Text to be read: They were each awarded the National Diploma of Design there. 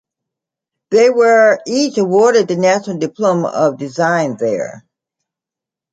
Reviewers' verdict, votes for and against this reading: accepted, 2, 0